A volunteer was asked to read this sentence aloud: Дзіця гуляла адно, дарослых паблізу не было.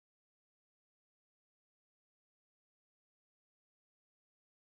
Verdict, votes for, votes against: rejected, 0, 3